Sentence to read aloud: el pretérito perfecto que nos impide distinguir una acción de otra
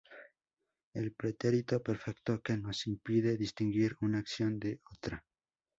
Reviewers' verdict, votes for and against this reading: accepted, 2, 0